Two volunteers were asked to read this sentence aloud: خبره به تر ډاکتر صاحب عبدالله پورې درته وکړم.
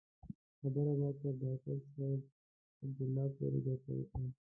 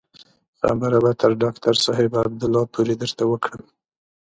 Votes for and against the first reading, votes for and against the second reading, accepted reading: 0, 2, 2, 0, second